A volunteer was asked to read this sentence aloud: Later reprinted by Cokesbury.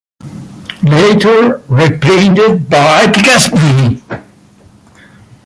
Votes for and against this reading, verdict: 0, 2, rejected